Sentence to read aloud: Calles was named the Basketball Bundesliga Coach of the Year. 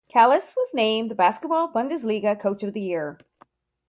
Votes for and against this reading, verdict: 4, 0, accepted